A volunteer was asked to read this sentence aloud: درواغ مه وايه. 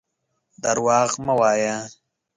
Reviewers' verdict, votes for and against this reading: accepted, 2, 0